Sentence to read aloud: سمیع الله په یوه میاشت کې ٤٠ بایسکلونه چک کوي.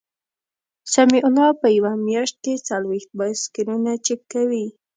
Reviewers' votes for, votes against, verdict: 0, 2, rejected